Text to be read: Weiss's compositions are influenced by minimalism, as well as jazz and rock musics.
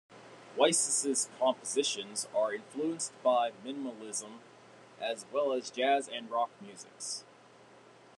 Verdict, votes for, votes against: accepted, 2, 1